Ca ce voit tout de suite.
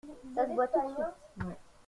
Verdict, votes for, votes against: rejected, 0, 2